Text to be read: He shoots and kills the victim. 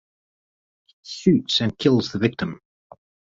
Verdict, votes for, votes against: rejected, 0, 4